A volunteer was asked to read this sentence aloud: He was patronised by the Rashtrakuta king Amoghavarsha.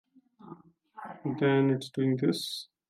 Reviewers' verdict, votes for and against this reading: rejected, 1, 2